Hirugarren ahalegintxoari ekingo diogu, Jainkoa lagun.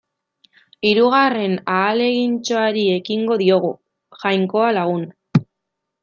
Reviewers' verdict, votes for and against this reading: accepted, 2, 0